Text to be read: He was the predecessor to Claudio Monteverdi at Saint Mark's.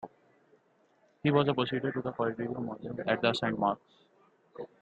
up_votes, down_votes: 1, 2